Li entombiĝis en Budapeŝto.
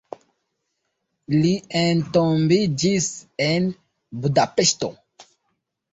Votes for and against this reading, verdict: 1, 2, rejected